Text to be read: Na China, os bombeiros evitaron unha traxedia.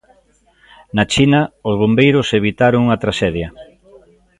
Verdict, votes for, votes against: rejected, 0, 2